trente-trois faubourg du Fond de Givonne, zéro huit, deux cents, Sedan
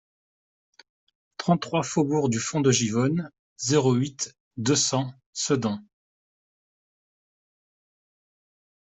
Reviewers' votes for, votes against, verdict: 2, 0, accepted